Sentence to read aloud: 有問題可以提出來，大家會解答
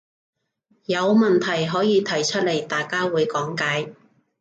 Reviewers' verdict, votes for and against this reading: rejected, 0, 2